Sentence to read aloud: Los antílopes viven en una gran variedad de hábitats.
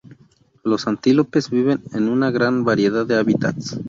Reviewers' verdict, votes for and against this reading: rejected, 0, 2